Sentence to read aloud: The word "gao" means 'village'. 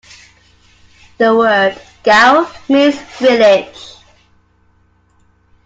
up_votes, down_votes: 2, 0